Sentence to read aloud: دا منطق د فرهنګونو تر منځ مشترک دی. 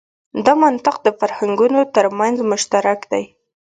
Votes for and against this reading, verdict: 2, 0, accepted